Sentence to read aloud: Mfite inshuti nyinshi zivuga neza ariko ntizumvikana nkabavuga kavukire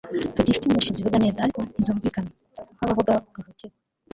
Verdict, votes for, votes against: rejected, 0, 2